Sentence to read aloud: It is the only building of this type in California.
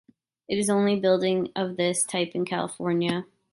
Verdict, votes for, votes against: rejected, 0, 2